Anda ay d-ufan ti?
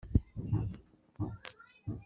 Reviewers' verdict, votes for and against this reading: rejected, 1, 2